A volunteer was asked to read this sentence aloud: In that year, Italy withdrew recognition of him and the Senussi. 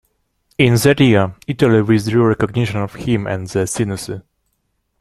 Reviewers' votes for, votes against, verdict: 1, 2, rejected